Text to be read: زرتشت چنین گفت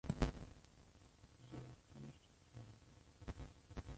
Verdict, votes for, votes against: rejected, 0, 2